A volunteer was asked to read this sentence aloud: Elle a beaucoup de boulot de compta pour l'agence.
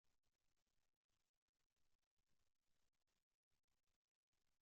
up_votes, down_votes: 0, 2